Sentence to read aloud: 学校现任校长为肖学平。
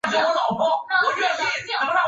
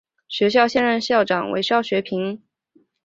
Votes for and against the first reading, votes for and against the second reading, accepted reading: 0, 4, 3, 0, second